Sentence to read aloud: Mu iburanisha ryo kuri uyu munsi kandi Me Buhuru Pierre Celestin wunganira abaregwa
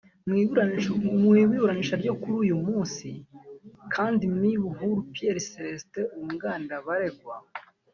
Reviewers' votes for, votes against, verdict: 1, 3, rejected